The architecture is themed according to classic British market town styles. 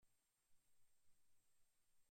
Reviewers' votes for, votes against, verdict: 0, 2, rejected